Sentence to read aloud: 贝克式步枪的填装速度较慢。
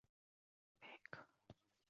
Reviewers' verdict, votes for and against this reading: rejected, 0, 4